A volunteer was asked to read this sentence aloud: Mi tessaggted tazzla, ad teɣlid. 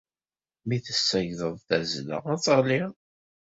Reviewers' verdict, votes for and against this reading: rejected, 0, 2